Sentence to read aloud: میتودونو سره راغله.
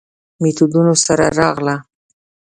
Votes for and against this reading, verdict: 2, 0, accepted